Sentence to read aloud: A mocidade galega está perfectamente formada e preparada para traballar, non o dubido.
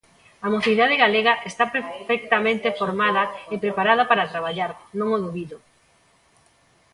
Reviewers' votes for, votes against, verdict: 1, 2, rejected